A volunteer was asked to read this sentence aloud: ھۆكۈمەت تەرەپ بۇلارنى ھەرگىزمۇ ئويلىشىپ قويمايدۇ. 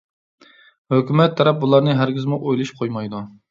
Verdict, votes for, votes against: accepted, 2, 0